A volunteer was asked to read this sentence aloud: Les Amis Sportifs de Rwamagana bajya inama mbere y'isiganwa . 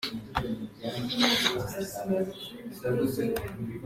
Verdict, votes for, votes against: rejected, 0, 2